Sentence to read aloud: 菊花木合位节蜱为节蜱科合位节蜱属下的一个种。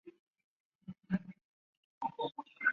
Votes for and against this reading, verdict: 0, 4, rejected